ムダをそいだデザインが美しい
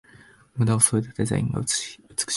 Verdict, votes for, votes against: accepted, 3, 1